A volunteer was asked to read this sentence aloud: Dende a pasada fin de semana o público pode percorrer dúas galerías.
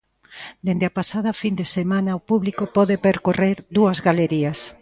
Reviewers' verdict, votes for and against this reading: accepted, 2, 0